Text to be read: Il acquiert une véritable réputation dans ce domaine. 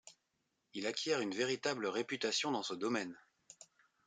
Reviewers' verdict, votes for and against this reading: accepted, 2, 0